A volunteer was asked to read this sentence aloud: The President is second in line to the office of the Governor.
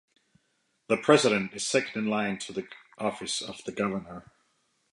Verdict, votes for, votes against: rejected, 0, 2